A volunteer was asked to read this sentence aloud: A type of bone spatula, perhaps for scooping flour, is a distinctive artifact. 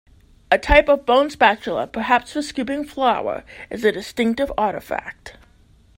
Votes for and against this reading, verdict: 2, 0, accepted